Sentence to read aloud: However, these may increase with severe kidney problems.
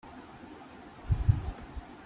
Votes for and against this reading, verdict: 0, 2, rejected